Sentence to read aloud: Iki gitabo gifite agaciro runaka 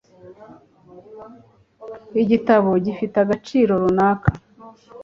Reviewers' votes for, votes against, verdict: 0, 2, rejected